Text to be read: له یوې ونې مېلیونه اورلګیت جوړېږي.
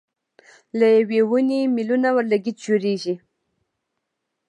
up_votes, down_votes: 0, 2